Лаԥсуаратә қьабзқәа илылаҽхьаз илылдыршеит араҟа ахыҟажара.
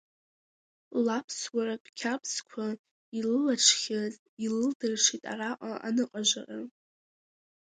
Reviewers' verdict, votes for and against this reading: rejected, 1, 2